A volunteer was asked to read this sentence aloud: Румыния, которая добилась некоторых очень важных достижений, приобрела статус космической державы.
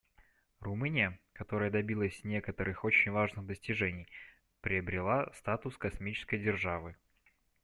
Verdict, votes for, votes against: rejected, 0, 2